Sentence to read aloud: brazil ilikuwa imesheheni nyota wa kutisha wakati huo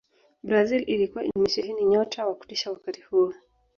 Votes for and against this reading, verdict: 2, 0, accepted